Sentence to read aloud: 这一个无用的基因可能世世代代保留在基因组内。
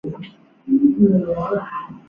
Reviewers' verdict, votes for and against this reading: rejected, 0, 2